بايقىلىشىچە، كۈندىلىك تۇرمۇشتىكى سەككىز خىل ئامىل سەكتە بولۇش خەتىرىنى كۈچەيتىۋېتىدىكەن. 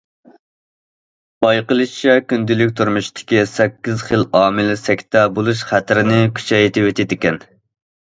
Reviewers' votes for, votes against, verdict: 2, 0, accepted